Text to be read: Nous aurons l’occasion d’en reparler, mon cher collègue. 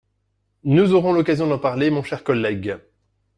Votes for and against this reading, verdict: 1, 2, rejected